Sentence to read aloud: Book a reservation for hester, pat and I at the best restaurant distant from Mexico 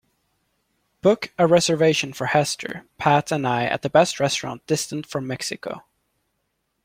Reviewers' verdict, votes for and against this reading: accepted, 2, 0